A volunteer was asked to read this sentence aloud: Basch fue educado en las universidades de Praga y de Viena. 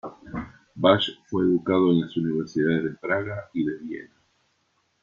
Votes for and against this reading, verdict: 2, 1, accepted